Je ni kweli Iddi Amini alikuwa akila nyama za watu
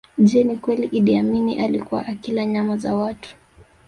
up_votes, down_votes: 0, 2